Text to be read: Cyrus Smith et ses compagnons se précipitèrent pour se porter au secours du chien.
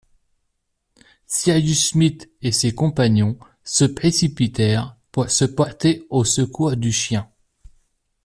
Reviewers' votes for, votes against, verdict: 1, 2, rejected